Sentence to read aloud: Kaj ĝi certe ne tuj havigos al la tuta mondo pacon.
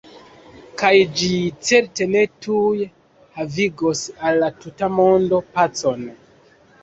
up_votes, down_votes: 1, 2